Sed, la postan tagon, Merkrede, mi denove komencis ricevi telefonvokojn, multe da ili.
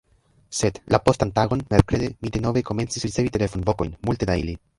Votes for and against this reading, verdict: 0, 2, rejected